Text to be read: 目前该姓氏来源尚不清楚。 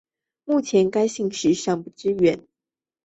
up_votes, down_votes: 1, 2